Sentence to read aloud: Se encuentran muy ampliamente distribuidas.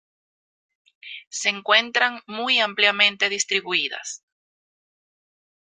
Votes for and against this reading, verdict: 2, 0, accepted